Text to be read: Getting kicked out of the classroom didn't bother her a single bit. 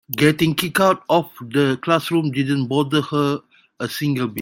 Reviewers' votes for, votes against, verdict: 1, 2, rejected